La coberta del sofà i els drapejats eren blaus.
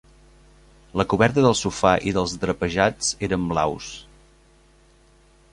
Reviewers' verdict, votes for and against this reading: accepted, 2, 1